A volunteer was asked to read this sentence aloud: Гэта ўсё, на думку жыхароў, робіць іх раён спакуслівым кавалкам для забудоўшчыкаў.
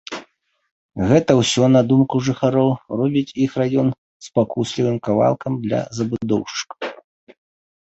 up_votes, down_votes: 0, 2